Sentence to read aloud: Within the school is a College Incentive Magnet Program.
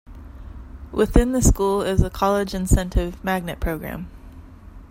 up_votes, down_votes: 2, 0